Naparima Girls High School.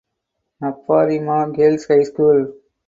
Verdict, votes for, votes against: accepted, 4, 0